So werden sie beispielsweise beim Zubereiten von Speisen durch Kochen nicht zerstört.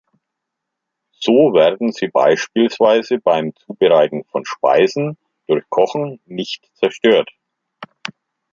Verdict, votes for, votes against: accepted, 2, 1